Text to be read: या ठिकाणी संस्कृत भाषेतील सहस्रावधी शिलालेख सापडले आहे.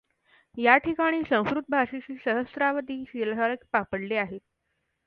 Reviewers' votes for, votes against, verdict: 2, 1, accepted